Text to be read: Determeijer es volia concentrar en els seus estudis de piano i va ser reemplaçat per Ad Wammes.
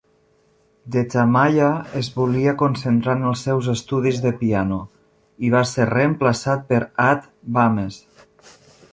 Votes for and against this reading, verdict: 0, 2, rejected